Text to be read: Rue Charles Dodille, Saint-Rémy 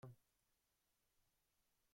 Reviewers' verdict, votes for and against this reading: rejected, 0, 2